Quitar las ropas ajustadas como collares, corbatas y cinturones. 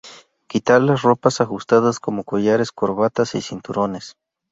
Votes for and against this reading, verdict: 2, 0, accepted